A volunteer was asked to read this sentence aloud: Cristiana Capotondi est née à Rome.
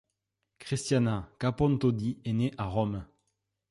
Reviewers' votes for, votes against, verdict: 0, 2, rejected